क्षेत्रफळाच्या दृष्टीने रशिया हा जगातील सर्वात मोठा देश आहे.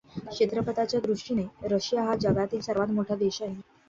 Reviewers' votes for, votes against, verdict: 1, 2, rejected